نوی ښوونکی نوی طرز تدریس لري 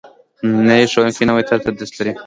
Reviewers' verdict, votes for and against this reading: accepted, 2, 0